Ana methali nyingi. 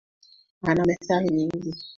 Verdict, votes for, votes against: accepted, 2, 1